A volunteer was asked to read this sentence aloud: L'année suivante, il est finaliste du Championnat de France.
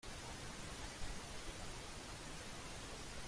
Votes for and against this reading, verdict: 0, 2, rejected